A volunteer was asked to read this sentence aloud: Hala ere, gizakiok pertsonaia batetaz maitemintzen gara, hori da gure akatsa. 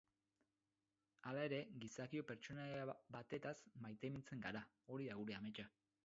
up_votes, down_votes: 2, 4